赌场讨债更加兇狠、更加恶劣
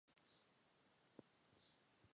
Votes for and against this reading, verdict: 0, 2, rejected